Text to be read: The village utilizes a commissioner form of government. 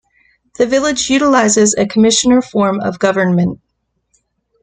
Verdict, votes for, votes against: accepted, 2, 0